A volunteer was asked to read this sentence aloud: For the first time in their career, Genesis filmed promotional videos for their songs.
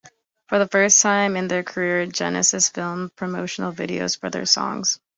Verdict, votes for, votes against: accepted, 2, 0